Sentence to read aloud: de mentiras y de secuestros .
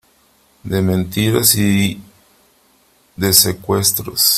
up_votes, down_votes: 3, 1